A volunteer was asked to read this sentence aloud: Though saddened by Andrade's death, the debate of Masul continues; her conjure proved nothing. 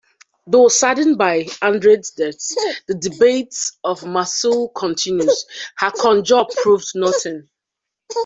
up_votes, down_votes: 0, 2